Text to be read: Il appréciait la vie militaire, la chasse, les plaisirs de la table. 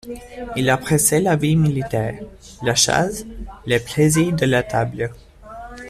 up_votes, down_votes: 1, 2